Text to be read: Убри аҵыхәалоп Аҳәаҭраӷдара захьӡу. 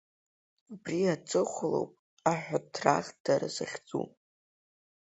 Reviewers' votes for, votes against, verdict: 3, 0, accepted